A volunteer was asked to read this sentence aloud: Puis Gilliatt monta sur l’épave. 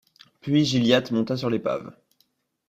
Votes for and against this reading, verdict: 1, 2, rejected